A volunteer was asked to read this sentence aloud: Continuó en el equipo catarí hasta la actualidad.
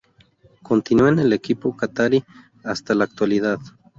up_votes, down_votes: 0, 2